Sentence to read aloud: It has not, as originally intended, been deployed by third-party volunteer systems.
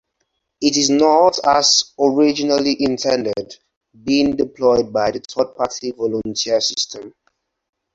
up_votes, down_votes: 0, 4